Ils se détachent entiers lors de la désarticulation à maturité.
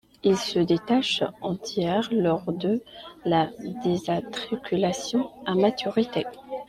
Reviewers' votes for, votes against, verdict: 1, 3, rejected